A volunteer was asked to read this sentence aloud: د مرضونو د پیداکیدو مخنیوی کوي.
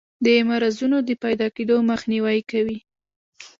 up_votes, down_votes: 2, 0